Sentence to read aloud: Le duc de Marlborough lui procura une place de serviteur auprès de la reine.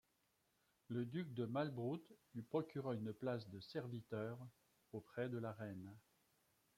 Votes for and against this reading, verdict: 1, 2, rejected